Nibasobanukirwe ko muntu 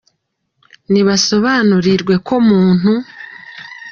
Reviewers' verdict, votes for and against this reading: accepted, 2, 0